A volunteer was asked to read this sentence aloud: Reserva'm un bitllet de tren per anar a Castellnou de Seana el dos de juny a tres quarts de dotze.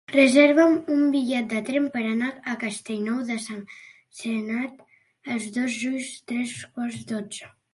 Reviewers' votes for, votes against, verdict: 0, 2, rejected